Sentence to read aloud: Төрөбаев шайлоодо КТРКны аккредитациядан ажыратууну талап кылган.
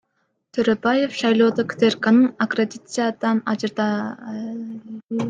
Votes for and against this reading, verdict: 0, 2, rejected